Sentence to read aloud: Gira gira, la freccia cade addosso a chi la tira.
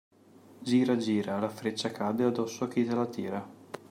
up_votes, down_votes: 0, 2